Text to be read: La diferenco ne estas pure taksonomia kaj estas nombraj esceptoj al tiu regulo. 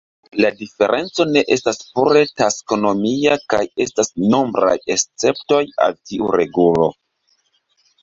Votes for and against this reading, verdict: 2, 1, accepted